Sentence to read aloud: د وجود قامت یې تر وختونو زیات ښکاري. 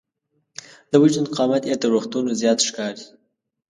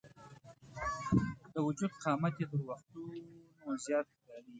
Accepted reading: first